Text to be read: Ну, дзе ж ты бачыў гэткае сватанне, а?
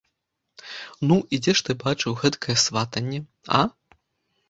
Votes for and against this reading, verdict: 2, 1, accepted